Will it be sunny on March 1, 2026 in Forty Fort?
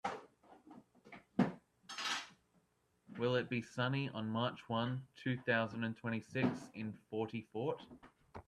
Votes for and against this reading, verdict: 0, 2, rejected